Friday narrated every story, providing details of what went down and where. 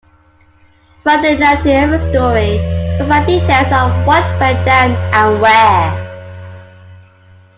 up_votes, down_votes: 2, 0